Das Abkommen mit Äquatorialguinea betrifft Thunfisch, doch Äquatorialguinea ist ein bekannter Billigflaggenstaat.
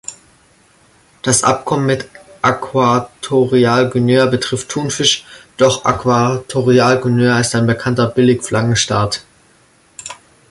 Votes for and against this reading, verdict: 0, 2, rejected